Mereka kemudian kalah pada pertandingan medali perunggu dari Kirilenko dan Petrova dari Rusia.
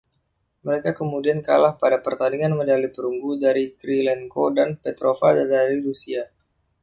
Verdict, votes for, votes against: accepted, 2, 0